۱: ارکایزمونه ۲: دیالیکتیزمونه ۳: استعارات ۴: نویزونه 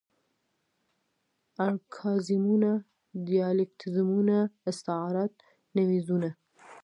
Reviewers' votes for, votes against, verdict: 0, 2, rejected